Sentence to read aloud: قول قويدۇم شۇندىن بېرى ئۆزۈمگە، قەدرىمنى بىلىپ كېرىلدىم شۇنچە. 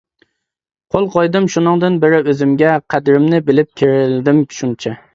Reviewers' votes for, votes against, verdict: 0, 2, rejected